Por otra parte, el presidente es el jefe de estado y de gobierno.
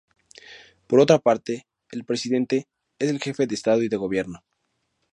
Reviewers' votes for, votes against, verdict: 0, 2, rejected